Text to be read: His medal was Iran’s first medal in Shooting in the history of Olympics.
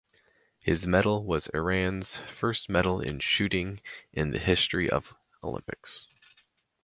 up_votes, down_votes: 4, 0